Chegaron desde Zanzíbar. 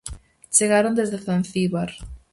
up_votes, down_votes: 4, 0